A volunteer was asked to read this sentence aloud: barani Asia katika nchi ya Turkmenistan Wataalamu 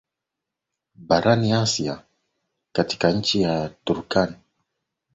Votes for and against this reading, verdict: 1, 2, rejected